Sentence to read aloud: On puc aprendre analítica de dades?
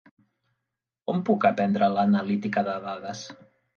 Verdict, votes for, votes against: rejected, 1, 2